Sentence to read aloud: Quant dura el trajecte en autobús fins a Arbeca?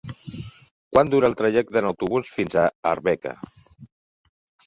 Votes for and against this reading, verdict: 3, 1, accepted